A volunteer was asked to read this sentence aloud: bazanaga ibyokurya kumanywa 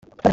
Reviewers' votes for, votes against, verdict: 1, 3, rejected